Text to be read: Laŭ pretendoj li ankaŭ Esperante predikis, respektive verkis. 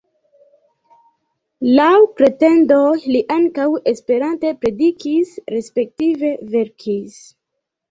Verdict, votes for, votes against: accepted, 2, 0